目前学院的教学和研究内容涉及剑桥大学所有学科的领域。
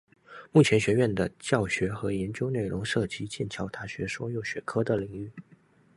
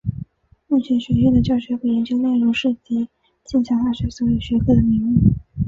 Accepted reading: first